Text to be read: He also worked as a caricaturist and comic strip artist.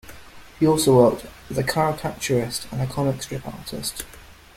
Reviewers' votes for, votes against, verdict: 2, 1, accepted